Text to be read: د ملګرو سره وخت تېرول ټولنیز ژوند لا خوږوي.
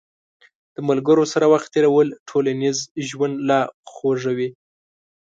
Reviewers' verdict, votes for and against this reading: accepted, 2, 0